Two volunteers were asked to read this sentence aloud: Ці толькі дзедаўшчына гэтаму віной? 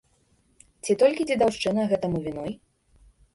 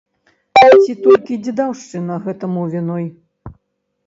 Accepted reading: first